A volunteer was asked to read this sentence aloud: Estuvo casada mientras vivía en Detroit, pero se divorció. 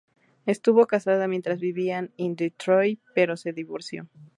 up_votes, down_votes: 0, 2